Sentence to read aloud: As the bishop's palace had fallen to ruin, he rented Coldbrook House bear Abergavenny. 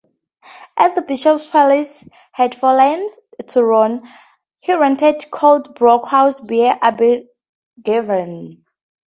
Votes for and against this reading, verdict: 2, 0, accepted